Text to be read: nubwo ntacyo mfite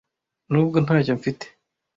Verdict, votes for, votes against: accepted, 2, 0